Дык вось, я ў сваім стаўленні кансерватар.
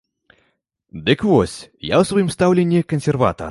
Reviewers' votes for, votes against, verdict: 2, 0, accepted